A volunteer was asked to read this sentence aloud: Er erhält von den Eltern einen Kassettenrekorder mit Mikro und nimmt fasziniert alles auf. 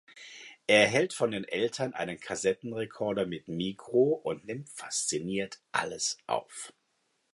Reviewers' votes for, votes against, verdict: 0, 2, rejected